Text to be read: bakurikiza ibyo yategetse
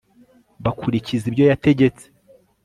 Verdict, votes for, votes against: accepted, 2, 0